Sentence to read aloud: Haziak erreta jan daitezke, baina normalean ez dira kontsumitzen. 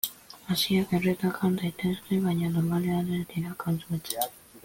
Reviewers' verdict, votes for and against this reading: rejected, 0, 2